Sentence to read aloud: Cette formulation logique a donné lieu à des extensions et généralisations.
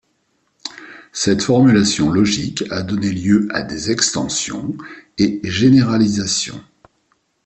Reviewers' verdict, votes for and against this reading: accepted, 2, 0